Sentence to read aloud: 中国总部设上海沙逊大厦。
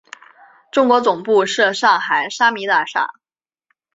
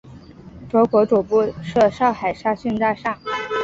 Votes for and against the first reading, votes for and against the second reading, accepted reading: 1, 2, 3, 0, second